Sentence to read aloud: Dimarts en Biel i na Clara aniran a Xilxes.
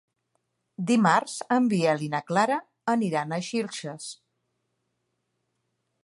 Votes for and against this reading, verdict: 2, 0, accepted